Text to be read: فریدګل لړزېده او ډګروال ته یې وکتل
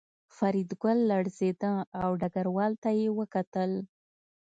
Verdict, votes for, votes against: accepted, 2, 0